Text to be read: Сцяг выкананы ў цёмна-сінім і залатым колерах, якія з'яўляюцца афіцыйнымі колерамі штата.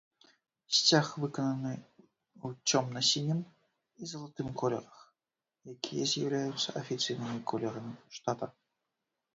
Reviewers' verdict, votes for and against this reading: accepted, 2, 1